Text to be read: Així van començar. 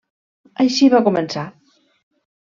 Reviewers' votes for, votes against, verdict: 1, 2, rejected